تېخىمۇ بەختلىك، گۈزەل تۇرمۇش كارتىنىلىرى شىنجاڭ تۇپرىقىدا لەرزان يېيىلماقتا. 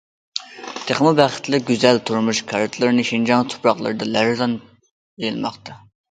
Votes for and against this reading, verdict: 0, 2, rejected